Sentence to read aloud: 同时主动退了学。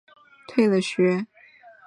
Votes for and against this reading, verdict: 0, 4, rejected